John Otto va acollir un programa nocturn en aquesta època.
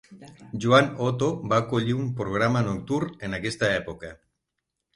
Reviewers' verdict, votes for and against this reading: rejected, 3, 6